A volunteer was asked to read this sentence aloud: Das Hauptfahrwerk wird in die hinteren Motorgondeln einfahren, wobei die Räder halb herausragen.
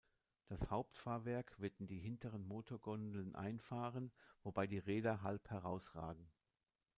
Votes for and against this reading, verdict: 2, 0, accepted